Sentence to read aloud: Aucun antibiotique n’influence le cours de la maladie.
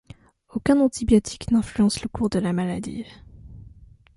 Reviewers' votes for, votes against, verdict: 2, 0, accepted